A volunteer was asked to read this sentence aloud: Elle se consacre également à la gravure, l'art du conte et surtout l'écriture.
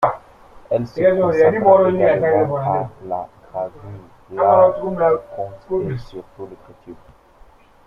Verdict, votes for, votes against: rejected, 1, 2